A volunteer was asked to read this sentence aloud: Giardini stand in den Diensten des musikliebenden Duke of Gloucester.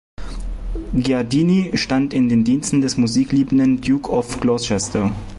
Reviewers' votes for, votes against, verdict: 2, 1, accepted